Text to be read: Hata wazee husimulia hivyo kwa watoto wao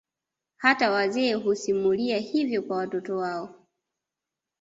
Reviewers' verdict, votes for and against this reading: accepted, 2, 0